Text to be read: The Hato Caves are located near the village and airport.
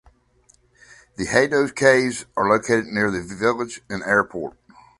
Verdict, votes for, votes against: accepted, 2, 0